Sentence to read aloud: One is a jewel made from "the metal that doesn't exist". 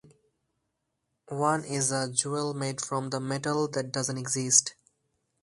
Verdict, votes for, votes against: accepted, 2, 0